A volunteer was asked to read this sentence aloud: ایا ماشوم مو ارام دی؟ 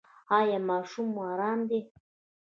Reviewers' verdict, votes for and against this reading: rejected, 1, 2